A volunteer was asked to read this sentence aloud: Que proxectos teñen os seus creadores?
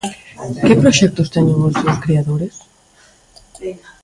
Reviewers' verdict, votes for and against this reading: rejected, 0, 2